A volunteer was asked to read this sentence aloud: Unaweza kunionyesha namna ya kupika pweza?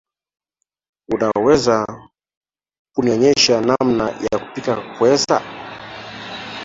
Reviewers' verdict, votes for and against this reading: rejected, 1, 2